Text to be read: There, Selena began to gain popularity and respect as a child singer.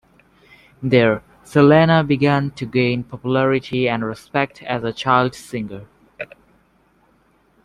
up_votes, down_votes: 1, 2